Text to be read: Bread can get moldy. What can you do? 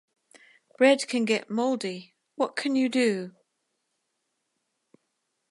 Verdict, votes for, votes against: accepted, 2, 0